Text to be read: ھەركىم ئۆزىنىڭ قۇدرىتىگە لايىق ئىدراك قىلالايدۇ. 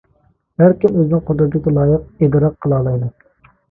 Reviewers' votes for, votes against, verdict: 0, 2, rejected